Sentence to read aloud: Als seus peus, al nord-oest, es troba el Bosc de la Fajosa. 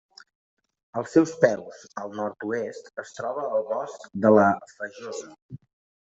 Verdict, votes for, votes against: accepted, 5, 0